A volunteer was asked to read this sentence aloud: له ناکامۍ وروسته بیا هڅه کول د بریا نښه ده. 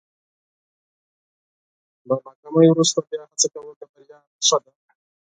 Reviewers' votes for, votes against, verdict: 2, 4, rejected